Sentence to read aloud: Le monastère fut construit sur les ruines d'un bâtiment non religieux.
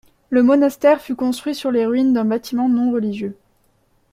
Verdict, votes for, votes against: accepted, 2, 0